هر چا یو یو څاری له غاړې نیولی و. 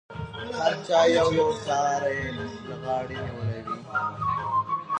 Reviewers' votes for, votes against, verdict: 0, 2, rejected